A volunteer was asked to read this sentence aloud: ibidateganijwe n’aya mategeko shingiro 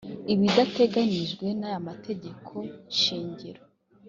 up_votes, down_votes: 2, 0